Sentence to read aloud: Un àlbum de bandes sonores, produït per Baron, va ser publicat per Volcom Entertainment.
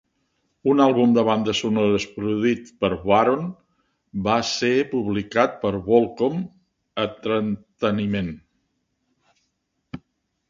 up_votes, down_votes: 0, 2